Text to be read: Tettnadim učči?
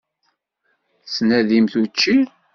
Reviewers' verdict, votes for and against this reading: rejected, 1, 2